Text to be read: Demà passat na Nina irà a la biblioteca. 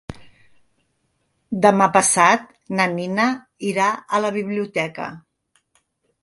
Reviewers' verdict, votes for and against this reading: accepted, 3, 0